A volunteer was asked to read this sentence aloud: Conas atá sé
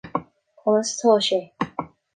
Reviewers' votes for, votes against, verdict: 2, 0, accepted